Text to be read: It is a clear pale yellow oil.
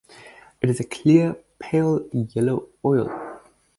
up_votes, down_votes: 2, 2